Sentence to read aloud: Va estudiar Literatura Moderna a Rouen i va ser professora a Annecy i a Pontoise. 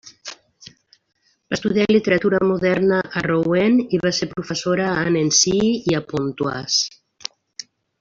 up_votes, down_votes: 1, 2